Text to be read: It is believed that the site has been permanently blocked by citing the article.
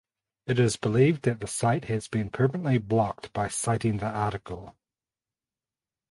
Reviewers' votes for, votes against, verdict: 4, 2, accepted